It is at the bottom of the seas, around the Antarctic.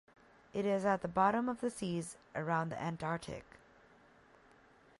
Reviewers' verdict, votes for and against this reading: accepted, 2, 0